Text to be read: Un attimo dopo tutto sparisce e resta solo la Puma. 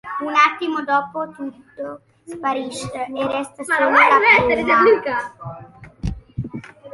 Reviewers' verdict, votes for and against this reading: rejected, 0, 2